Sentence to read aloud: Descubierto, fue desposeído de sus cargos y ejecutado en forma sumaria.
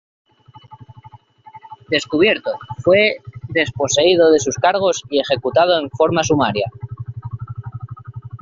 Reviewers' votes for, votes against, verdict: 2, 0, accepted